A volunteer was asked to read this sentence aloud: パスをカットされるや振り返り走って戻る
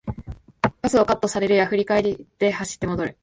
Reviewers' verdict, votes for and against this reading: rejected, 0, 2